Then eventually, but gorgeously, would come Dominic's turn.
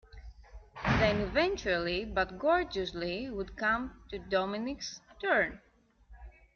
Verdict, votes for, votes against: rejected, 0, 2